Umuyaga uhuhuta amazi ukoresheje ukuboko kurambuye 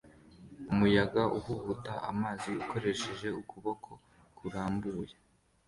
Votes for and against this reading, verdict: 2, 1, accepted